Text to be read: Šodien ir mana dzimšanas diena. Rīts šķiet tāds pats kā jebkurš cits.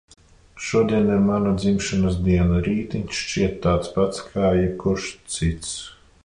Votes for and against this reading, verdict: 0, 2, rejected